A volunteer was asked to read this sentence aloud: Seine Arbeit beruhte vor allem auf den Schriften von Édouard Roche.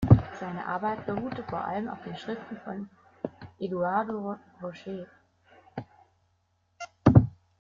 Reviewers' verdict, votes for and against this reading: rejected, 0, 2